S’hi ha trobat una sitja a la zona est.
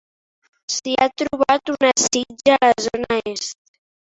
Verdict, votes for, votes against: accepted, 2, 0